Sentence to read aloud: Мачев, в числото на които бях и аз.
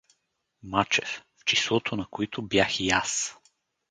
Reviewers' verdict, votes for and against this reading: accepted, 4, 0